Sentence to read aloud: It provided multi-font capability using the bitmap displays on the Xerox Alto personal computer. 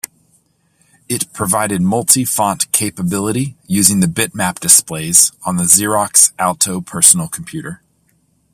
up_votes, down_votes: 2, 0